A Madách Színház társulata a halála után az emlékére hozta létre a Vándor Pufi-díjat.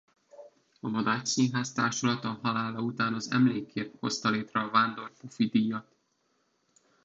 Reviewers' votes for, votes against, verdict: 0, 2, rejected